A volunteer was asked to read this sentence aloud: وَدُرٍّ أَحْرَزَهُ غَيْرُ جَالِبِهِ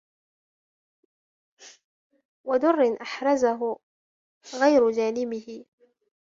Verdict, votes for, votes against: rejected, 1, 2